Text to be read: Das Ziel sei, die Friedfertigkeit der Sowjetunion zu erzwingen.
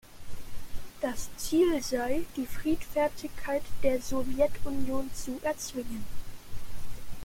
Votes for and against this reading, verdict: 2, 0, accepted